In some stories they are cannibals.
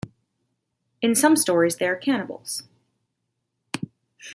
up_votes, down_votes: 2, 1